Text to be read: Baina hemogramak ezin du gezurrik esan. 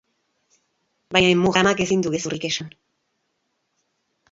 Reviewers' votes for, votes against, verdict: 0, 2, rejected